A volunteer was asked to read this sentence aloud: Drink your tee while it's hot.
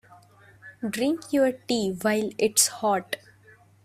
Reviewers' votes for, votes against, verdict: 1, 2, rejected